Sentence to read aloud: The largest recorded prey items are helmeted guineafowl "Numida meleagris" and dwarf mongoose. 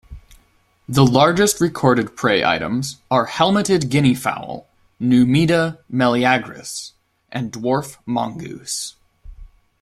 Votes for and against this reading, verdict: 2, 0, accepted